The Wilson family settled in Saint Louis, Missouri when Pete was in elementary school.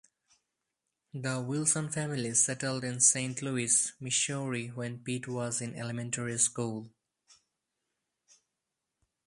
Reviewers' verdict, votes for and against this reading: rejected, 0, 4